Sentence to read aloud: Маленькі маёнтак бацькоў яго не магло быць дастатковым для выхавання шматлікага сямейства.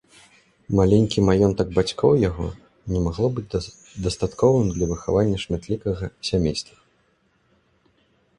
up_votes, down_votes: 0, 2